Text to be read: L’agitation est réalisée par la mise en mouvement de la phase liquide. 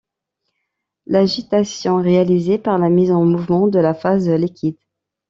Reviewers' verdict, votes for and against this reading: rejected, 1, 2